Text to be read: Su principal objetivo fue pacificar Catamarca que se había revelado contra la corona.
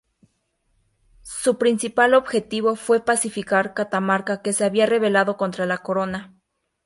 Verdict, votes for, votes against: accepted, 2, 0